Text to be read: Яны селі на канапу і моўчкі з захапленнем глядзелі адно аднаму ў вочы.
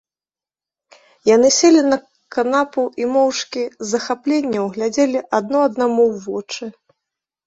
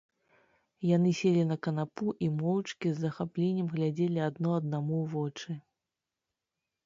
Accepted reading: first